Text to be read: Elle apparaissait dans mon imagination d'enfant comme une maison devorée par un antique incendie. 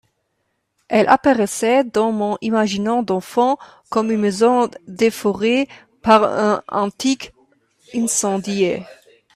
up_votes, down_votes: 0, 2